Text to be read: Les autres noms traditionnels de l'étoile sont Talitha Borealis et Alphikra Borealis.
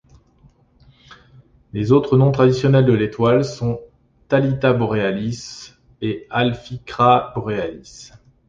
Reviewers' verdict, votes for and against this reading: accepted, 2, 0